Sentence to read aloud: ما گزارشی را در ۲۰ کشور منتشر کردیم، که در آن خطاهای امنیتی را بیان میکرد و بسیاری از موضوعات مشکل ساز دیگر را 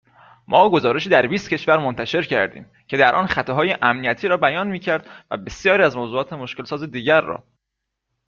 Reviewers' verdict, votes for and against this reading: rejected, 0, 2